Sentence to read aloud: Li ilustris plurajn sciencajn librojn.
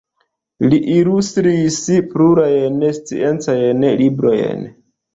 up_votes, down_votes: 0, 2